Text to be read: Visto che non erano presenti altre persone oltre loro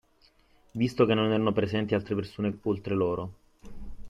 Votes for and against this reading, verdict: 2, 1, accepted